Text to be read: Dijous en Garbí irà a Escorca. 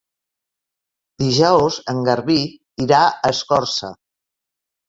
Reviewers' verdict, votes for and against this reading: rejected, 1, 2